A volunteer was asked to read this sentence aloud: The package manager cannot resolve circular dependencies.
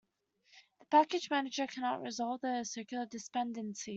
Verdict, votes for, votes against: rejected, 1, 2